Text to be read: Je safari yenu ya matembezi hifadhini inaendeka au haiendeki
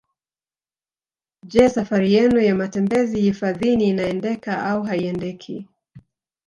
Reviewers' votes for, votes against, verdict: 3, 1, accepted